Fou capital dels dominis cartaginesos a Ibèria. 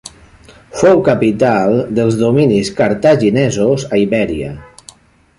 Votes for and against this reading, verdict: 3, 0, accepted